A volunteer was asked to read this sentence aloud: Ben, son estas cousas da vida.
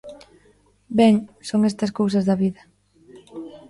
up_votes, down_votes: 0, 2